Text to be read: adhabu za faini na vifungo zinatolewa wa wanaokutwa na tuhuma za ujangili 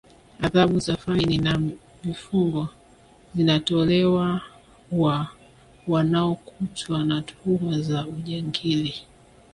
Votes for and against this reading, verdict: 1, 2, rejected